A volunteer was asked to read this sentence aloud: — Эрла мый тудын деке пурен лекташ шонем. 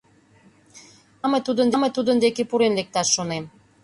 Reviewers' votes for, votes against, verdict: 0, 2, rejected